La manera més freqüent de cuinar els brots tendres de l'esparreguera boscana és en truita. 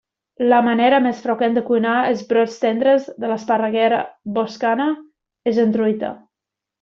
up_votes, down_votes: 1, 2